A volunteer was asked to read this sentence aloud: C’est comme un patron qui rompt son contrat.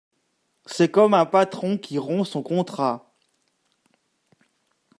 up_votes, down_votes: 2, 0